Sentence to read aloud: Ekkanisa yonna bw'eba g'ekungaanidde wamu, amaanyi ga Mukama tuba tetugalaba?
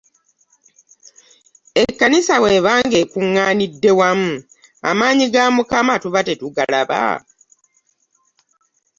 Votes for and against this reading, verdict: 1, 2, rejected